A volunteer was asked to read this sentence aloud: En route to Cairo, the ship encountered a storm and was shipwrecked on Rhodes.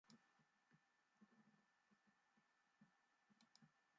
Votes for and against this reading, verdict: 0, 2, rejected